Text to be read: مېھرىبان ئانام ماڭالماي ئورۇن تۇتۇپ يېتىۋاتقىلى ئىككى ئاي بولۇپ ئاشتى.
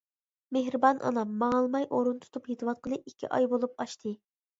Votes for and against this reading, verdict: 2, 0, accepted